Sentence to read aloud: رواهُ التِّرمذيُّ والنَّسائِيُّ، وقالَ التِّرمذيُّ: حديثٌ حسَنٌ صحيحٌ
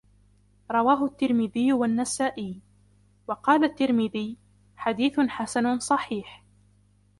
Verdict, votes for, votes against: accepted, 2, 1